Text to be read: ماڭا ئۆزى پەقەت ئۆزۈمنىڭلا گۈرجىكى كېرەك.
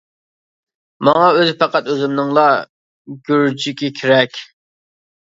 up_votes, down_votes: 1, 2